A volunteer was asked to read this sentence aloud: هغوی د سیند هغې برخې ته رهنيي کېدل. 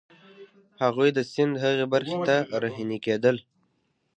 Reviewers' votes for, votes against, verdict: 3, 0, accepted